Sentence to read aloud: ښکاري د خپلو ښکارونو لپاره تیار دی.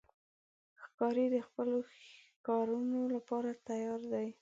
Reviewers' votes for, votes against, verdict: 2, 0, accepted